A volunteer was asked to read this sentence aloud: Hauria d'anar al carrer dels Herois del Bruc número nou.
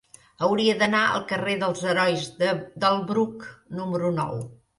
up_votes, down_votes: 0, 2